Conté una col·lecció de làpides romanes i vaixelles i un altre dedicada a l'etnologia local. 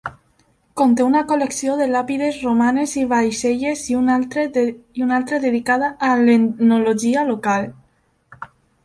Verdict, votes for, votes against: rejected, 1, 2